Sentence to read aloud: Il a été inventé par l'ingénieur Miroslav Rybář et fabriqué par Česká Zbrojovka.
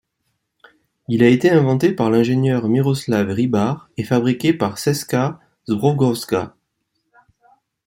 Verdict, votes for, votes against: rejected, 1, 2